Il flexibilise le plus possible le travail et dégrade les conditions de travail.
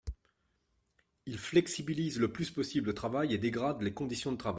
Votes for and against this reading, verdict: 2, 1, accepted